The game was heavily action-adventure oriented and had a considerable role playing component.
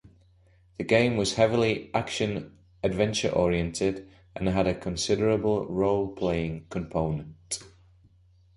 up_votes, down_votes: 2, 0